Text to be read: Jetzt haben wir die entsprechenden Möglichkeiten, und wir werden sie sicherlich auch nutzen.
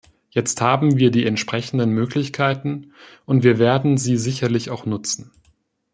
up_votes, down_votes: 2, 0